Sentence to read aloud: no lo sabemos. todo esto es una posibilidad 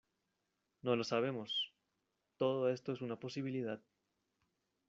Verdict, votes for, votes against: accepted, 2, 0